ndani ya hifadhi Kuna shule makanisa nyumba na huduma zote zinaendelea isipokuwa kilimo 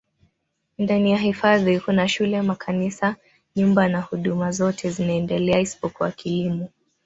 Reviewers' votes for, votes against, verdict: 2, 0, accepted